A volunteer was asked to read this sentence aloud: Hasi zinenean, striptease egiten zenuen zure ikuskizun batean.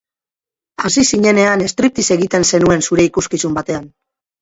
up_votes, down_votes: 0, 2